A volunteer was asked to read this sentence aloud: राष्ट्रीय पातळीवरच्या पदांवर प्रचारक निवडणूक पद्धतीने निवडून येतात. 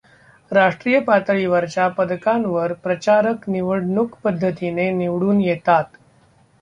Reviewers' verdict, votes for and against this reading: rejected, 1, 2